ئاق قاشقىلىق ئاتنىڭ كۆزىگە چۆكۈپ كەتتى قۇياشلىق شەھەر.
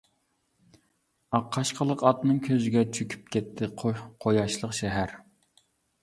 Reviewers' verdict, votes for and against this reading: rejected, 0, 2